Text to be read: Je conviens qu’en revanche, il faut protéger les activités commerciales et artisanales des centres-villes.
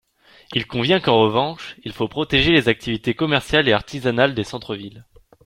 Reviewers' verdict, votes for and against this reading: rejected, 0, 3